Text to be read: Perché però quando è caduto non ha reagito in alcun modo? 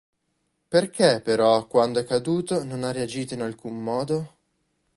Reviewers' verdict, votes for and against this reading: accepted, 2, 0